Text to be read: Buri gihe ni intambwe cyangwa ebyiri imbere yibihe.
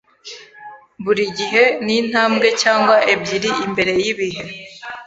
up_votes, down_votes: 3, 0